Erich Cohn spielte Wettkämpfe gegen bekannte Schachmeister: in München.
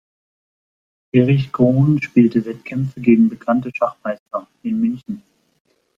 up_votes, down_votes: 2, 0